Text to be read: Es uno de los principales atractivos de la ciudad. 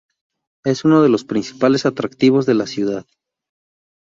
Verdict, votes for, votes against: accepted, 2, 0